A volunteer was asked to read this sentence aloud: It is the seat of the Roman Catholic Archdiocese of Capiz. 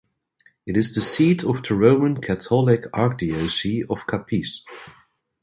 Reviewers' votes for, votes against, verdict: 0, 2, rejected